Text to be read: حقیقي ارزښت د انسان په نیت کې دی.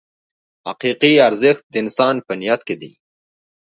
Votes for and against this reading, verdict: 2, 0, accepted